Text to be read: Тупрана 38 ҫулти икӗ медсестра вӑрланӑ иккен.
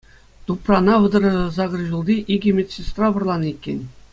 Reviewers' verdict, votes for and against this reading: rejected, 0, 2